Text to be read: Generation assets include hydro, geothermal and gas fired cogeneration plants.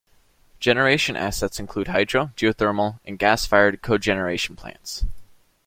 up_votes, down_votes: 2, 1